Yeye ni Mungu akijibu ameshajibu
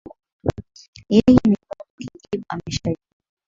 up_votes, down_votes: 0, 2